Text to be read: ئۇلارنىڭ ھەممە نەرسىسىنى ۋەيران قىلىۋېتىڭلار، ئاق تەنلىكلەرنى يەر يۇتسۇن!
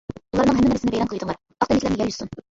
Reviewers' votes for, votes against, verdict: 0, 2, rejected